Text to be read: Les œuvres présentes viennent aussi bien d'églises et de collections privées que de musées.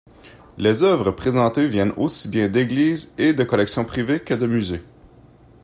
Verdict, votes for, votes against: rejected, 1, 2